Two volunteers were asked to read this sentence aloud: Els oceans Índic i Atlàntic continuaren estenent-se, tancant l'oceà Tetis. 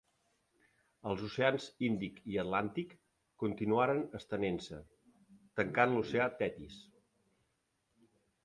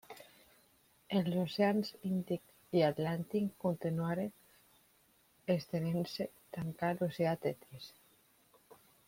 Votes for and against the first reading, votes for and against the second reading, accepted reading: 2, 1, 0, 2, first